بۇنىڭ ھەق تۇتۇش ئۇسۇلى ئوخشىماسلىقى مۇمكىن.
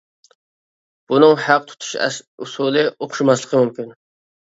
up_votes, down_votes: 2, 0